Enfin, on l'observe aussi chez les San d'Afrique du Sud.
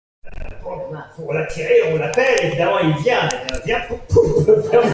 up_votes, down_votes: 0, 2